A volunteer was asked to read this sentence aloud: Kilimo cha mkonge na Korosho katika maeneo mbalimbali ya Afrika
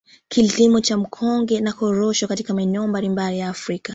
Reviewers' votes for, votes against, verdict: 1, 2, rejected